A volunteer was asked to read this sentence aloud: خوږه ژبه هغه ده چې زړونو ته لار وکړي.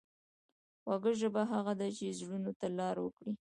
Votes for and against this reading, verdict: 2, 1, accepted